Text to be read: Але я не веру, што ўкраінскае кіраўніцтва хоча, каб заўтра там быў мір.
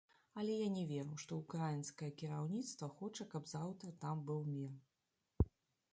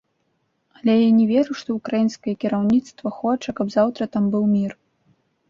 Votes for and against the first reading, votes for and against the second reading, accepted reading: 0, 2, 2, 0, second